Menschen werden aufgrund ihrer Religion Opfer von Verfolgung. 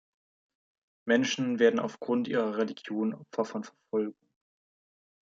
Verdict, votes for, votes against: rejected, 1, 2